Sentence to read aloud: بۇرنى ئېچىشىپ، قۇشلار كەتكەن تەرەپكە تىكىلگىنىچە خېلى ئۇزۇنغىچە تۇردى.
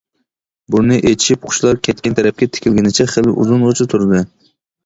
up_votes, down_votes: 2, 0